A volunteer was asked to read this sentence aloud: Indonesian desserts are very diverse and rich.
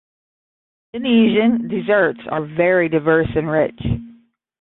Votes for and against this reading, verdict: 10, 5, accepted